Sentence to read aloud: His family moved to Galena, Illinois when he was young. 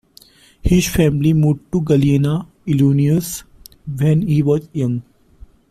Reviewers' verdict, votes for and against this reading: rejected, 1, 3